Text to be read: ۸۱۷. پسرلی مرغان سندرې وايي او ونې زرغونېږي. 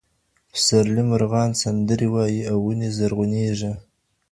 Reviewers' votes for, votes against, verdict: 0, 2, rejected